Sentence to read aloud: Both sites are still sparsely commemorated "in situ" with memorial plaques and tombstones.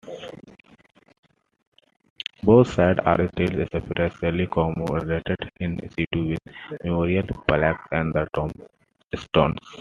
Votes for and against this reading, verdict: 0, 2, rejected